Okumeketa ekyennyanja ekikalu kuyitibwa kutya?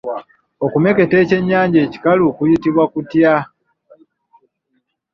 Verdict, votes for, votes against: accepted, 2, 0